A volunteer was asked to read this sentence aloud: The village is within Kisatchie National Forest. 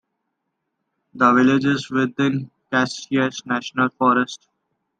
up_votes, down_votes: 1, 2